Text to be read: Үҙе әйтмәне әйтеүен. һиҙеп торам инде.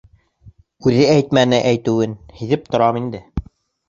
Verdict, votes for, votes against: accepted, 2, 0